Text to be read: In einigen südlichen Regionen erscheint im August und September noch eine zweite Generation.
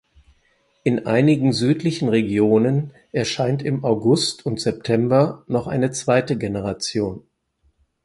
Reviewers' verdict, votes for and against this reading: accepted, 4, 0